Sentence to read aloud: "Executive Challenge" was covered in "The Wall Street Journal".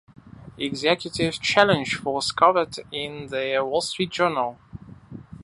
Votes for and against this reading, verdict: 2, 0, accepted